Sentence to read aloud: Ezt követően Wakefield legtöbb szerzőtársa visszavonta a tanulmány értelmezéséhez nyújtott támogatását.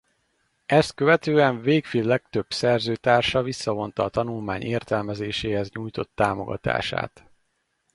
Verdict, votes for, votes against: rejected, 2, 2